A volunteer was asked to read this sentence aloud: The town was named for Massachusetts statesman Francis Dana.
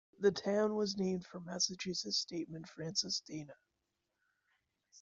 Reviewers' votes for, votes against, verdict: 1, 2, rejected